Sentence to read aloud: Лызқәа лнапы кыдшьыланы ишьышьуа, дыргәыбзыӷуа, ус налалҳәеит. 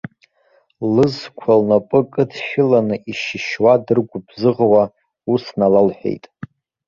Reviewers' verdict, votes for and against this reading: accepted, 2, 1